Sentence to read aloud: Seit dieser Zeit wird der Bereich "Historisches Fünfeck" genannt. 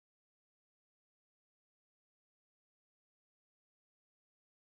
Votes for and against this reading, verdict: 0, 3, rejected